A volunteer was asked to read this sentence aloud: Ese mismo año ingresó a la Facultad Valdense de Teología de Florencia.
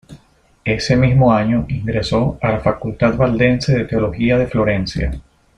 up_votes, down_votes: 2, 0